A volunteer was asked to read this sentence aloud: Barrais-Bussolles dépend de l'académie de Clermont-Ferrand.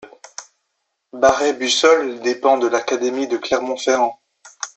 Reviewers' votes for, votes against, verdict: 2, 0, accepted